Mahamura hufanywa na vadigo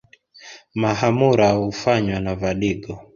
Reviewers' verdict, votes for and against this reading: accepted, 2, 1